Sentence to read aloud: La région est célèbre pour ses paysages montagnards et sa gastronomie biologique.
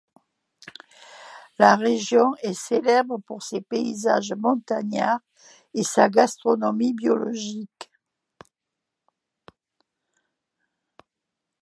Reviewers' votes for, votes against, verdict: 2, 0, accepted